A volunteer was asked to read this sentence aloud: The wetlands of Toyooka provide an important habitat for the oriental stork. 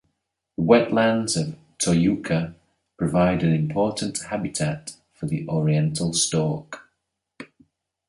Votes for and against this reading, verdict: 0, 2, rejected